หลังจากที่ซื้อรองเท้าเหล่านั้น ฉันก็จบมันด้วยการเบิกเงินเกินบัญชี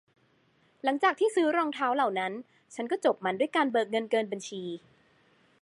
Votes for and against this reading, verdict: 2, 0, accepted